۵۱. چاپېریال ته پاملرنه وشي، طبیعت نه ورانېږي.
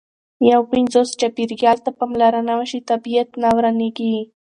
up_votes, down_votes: 0, 2